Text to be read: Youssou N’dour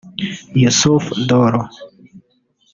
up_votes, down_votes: 0, 2